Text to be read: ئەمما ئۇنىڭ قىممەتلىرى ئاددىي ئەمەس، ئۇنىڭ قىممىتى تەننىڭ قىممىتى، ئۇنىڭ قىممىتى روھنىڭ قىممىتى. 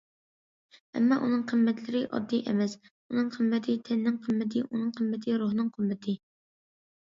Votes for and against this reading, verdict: 2, 0, accepted